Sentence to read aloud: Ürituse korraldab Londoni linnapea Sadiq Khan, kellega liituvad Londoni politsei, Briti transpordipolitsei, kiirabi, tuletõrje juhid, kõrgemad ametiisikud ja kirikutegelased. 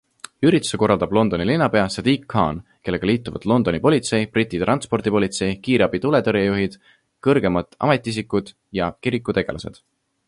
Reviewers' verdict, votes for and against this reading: accepted, 2, 0